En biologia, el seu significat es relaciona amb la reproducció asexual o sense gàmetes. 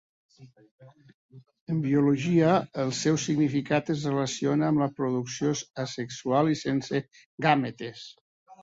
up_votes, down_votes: 0, 2